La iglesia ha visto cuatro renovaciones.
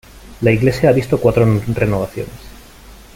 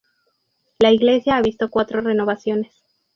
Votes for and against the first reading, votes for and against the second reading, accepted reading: 0, 2, 2, 0, second